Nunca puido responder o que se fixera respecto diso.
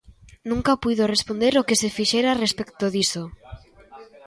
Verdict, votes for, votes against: rejected, 0, 2